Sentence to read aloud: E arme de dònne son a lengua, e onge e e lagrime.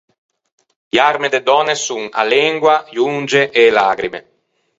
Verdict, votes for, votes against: accepted, 4, 0